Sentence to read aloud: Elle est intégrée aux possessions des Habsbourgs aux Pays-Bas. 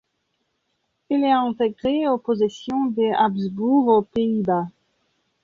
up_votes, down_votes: 1, 2